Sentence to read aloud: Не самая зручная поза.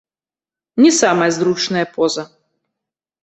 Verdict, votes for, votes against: rejected, 1, 2